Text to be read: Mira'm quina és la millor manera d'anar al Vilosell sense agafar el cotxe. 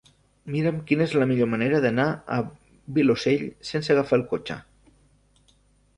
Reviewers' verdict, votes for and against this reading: rejected, 1, 2